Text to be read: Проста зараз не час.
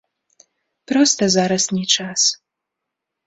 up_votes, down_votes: 2, 0